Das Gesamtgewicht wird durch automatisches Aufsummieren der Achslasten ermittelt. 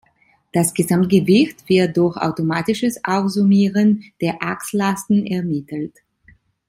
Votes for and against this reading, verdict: 2, 0, accepted